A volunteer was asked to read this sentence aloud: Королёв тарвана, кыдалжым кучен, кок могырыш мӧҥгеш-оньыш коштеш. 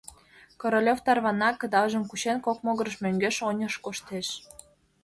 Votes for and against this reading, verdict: 2, 0, accepted